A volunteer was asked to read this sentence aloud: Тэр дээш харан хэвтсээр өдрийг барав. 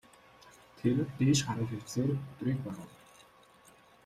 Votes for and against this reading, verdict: 0, 2, rejected